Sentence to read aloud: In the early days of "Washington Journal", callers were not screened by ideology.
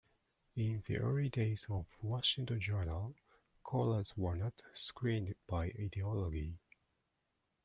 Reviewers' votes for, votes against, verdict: 2, 0, accepted